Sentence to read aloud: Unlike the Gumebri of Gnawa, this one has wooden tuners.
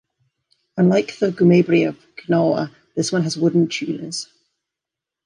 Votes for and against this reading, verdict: 2, 0, accepted